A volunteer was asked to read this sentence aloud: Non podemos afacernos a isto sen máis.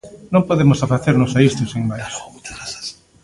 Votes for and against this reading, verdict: 1, 2, rejected